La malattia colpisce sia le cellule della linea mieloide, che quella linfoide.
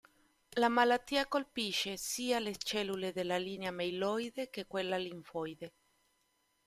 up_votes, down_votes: 1, 2